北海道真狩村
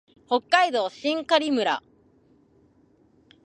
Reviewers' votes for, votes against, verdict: 2, 0, accepted